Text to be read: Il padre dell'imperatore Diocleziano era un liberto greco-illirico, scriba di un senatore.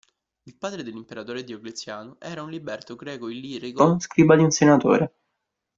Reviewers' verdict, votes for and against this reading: rejected, 0, 2